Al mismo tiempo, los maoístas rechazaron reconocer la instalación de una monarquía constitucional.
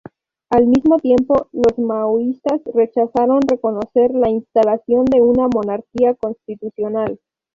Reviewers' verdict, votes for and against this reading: rejected, 0, 2